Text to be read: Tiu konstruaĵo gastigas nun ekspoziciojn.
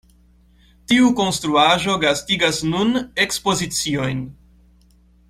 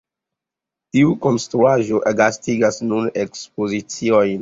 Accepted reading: first